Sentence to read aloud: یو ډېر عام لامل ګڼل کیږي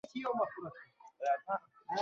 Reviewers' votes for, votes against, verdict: 1, 2, rejected